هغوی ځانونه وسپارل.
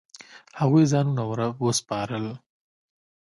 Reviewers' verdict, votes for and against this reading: accepted, 2, 0